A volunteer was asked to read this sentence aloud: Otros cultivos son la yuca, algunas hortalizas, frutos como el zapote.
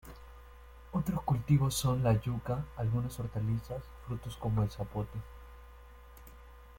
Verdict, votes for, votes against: accepted, 2, 0